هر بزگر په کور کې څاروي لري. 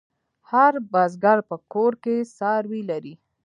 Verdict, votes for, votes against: accepted, 2, 0